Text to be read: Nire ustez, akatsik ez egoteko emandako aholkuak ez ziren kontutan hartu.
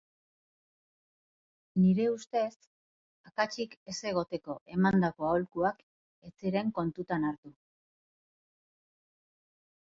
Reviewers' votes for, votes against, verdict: 1, 2, rejected